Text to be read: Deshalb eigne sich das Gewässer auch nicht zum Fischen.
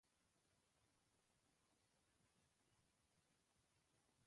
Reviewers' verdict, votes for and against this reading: rejected, 0, 2